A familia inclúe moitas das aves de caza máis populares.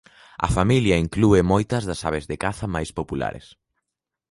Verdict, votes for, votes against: accepted, 2, 0